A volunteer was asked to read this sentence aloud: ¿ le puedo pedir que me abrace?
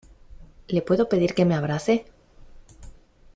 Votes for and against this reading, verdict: 2, 0, accepted